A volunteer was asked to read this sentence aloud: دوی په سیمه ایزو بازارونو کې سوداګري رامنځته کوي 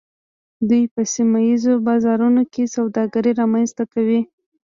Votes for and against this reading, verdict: 2, 0, accepted